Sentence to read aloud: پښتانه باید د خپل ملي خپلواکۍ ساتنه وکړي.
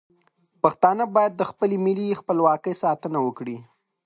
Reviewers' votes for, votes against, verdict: 2, 0, accepted